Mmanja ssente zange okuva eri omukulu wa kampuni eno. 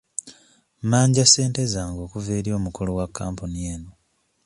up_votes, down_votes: 2, 0